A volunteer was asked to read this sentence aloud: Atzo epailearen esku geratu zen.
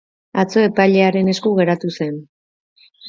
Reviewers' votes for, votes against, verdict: 2, 0, accepted